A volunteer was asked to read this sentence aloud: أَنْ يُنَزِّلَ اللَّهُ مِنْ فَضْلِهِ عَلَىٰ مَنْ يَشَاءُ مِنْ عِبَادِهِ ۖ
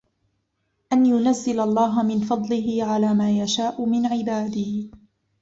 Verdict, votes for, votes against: rejected, 1, 2